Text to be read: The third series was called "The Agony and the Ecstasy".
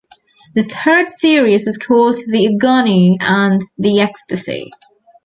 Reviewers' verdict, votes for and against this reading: rejected, 0, 2